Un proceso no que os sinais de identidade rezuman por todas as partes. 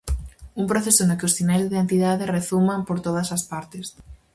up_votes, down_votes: 4, 0